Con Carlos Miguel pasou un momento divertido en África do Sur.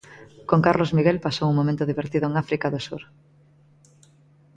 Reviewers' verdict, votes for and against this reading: accepted, 2, 0